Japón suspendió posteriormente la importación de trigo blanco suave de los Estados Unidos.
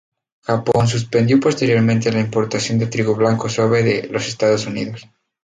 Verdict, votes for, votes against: rejected, 0, 2